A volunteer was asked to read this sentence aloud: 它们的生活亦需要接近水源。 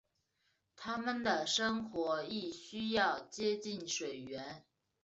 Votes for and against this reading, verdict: 5, 0, accepted